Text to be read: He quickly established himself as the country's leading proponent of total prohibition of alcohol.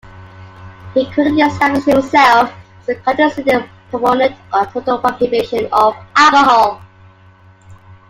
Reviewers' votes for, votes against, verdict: 0, 2, rejected